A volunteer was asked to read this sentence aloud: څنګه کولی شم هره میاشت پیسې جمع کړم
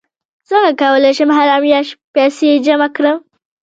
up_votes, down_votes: 2, 1